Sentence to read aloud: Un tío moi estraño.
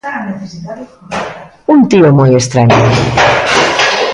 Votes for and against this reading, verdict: 0, 2, rejected